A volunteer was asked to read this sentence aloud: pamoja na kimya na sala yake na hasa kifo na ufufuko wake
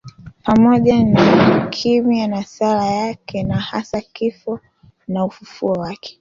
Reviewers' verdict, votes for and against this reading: rejected, 0, 2